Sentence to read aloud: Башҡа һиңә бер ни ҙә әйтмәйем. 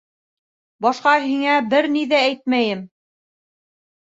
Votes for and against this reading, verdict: 3, 0, accepted